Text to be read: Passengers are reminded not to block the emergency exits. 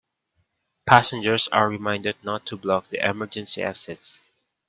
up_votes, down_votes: 2, 0